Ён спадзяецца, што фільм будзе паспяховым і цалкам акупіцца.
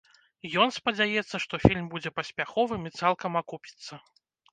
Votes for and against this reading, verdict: 2, 0, accepted